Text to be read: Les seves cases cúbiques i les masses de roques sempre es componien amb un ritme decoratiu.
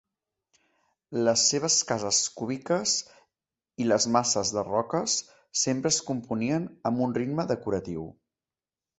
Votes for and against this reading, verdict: 2, 0, accepted